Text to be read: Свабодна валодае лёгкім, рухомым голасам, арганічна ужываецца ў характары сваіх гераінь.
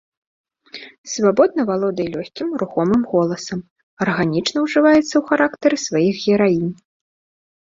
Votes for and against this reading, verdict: 2, 0, accepted